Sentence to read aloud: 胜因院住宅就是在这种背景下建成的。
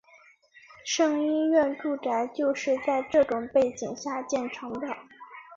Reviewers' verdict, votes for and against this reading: accepted, 3, 1